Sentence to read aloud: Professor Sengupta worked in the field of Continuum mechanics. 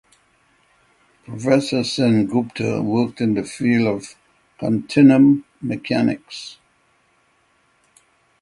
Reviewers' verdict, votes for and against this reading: rejected, 3, 3